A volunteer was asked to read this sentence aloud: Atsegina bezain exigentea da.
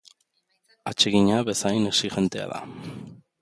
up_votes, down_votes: 2, 0